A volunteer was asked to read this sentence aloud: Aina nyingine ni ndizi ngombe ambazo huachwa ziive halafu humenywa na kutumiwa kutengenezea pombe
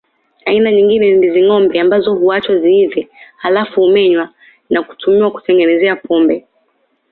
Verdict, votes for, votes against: accepted, 2, 0